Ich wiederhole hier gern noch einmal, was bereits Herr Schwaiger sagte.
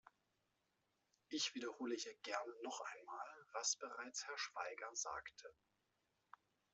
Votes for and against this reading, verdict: 2, 1, accepted